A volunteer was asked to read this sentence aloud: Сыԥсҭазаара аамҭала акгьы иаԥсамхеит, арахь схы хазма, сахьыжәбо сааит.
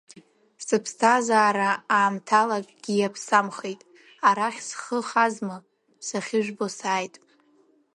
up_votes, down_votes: 2, 0